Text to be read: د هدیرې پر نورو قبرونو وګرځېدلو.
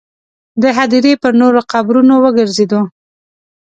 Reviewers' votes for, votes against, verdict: 1, 2, rejected